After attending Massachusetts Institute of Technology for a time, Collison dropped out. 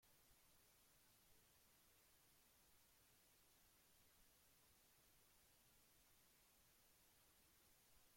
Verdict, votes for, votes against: rejected, 0, 2